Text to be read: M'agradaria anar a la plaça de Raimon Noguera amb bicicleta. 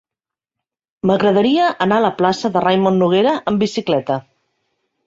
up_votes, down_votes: 2, 0